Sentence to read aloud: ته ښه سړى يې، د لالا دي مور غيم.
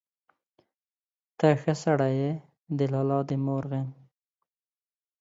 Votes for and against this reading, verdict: 2, 0, accepted